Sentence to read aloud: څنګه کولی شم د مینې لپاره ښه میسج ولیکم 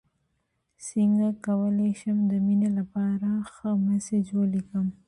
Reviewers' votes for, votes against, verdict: 2, 0, accepted